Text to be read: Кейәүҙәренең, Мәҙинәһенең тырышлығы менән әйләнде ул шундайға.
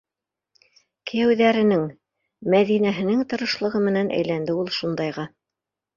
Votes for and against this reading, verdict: 1, 2, rejected